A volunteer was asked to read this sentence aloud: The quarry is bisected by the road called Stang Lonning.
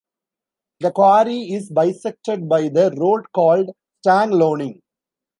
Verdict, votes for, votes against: accepted, 2, 0